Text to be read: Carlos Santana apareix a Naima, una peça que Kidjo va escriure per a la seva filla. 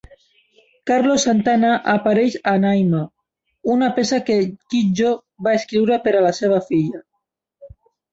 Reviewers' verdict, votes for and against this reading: rejected, 0, 4